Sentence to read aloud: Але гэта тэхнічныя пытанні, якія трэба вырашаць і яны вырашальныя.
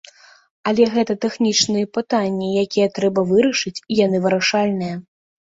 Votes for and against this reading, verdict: 0, 2, rejected